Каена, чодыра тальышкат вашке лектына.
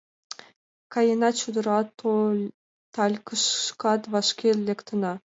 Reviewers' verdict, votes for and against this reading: rejected, 0, 2